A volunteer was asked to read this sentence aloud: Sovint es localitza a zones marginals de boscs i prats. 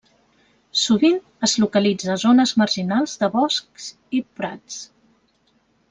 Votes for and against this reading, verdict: 1, 2, rejected